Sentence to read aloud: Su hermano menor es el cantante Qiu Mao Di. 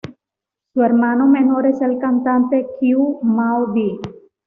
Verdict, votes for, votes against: accepted, 2, 0